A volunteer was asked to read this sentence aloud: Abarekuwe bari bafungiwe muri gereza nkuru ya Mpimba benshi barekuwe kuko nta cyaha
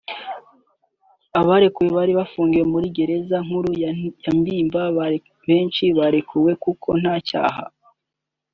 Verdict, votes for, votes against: accepted, 2, 1